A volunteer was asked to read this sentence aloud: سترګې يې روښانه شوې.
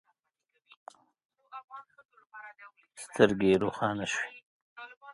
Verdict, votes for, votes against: rejected, 1, 2